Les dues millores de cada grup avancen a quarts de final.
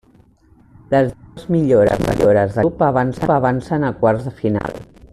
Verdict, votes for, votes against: rejected, 0, 2